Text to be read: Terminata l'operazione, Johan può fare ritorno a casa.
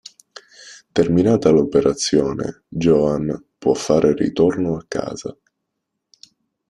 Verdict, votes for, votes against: rejected, 1, 2